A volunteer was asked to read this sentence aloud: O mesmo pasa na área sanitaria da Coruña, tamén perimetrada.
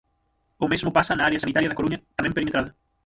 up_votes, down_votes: 0, 6